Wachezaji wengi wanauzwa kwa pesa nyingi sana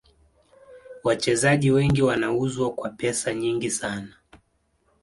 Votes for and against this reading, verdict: 2, 0, accepted